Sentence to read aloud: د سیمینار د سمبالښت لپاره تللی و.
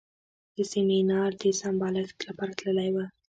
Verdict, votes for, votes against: rejected, 1, 2